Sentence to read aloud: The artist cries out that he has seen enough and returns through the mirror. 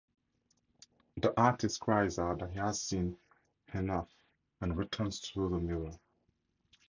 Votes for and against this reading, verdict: 2, 2, rejected